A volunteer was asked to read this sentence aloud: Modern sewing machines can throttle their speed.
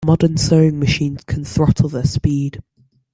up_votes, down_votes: 2, 0